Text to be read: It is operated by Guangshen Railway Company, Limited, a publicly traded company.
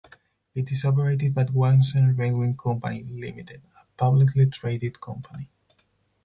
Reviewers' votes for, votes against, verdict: 2, 4, rejected